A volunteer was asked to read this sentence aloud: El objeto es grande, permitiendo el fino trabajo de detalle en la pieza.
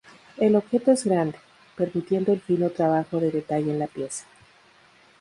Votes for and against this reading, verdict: 0, 2, rejected